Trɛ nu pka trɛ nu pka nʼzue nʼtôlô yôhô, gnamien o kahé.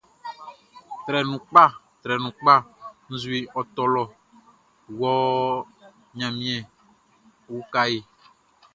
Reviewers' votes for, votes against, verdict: 0, 2, rejected